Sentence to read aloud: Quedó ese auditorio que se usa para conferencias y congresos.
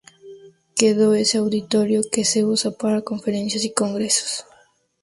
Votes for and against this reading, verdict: 2, 0, accepted